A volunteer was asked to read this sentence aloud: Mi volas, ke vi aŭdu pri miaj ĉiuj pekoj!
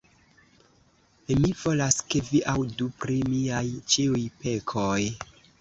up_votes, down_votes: 0, 2